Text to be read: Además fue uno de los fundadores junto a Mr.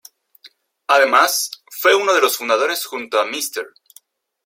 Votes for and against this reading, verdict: 0, 2, rejected